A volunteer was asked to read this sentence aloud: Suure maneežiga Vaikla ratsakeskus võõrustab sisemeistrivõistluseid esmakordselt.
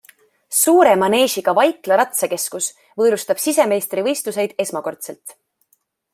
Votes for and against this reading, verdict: 2, 0, accepted